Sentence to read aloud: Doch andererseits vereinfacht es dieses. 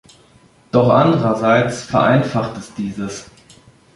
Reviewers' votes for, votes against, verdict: 2, 1, accepted